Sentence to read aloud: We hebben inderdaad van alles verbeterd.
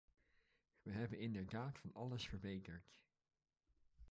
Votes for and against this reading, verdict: 0, 2, rejected